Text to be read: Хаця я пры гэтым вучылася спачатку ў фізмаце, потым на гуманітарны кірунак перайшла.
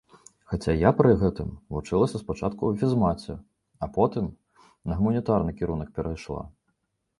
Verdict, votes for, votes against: rejected, 1, 2